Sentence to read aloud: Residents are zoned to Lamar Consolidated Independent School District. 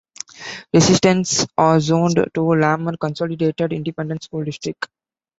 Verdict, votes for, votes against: rejected, 1, 2